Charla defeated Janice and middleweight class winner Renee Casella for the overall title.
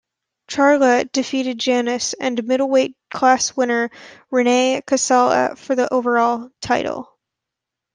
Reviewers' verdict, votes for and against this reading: accepted, 2, 0